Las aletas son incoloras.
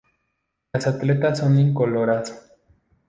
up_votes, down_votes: 0, 2